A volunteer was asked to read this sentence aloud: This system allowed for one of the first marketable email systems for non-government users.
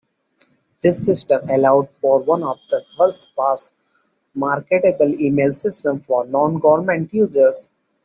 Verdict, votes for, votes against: rejected, 0, 2